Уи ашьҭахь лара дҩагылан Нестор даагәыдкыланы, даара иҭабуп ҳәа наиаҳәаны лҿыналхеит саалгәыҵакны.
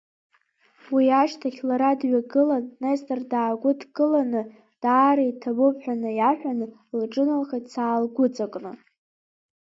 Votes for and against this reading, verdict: 1, 2, rejected